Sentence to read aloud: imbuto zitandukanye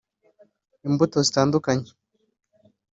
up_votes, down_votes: 2, 0